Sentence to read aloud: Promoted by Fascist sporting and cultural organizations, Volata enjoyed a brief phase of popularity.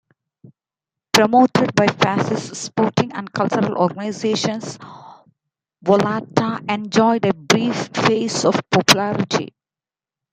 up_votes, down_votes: 2, 1